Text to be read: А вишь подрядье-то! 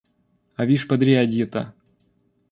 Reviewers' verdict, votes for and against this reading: accepted, 2, 0